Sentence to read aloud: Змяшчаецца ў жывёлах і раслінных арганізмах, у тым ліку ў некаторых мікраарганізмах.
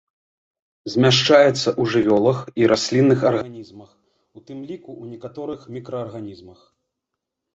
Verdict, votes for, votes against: accepted, 2, 0